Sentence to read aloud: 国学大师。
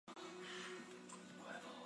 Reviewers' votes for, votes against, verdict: 0, 2, rejected